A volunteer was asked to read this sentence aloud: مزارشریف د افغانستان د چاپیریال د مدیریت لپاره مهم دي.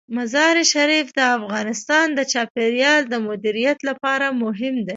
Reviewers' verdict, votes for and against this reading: rejected, 1, 2